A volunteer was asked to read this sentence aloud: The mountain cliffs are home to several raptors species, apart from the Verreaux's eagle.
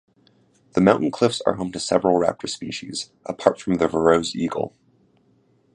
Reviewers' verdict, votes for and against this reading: accepted, 2, 0